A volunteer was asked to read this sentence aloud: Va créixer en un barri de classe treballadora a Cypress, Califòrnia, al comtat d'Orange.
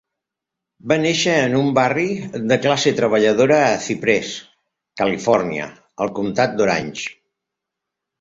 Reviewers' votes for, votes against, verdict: 0, 3, rejected